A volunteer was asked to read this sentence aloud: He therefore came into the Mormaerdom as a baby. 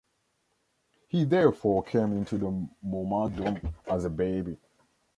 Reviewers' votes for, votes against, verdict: 1, 2, rejected